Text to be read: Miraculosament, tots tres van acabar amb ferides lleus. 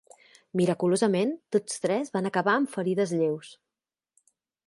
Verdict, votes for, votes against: accepted, 2, 0